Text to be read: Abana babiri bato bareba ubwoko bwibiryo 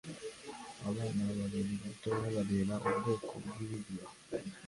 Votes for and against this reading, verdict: 2, 0, accepted